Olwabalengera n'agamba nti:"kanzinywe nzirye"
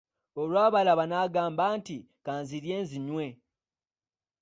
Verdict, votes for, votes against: rejected, 0, 2